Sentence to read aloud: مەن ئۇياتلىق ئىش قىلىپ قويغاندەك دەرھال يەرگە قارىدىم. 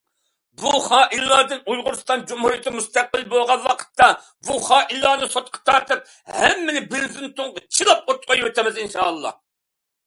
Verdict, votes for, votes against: rejected, 0, 2